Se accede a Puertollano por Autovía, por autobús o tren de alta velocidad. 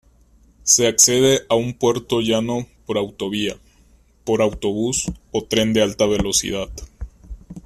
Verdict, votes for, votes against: rejected, 0, 2